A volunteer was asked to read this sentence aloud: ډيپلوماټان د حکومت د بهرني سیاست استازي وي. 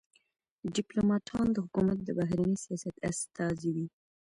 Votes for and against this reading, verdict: 2, 1, accepted